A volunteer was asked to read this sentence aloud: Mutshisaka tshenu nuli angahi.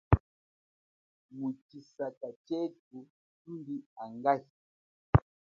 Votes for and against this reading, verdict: 1, 2, rejected